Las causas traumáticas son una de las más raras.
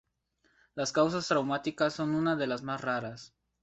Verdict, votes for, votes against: accepted, 4, 0